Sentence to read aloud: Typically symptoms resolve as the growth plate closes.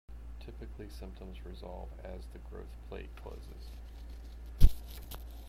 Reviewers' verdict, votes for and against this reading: rejected, 0, 2